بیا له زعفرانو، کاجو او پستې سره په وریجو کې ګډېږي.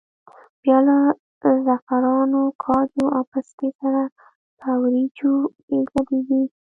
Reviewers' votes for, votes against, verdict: 2, 1, accepted